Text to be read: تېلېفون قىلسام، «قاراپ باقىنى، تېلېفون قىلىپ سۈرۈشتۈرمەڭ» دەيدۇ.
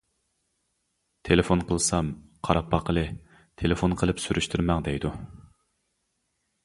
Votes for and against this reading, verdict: 0, 2, rejected